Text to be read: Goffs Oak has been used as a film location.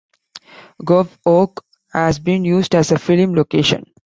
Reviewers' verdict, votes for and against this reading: accepted, 2, 1